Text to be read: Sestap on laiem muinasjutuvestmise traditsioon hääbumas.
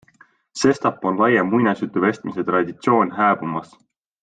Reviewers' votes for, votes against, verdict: 2, 0, accepted